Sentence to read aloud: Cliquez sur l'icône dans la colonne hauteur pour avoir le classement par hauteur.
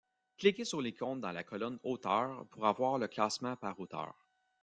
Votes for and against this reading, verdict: 1, 2, rejected